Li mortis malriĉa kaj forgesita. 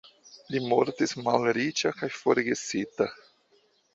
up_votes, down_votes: 2, 1